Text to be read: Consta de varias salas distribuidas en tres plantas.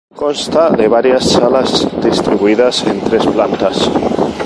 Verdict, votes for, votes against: accepted, 2, 0